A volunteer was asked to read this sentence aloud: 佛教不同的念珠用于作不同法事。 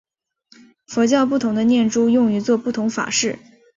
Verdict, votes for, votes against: accepted, 2, 0